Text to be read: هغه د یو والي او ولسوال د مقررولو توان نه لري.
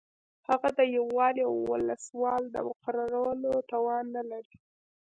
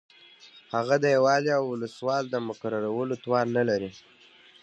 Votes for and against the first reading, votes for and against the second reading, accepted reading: 2, 0, 1, 2, first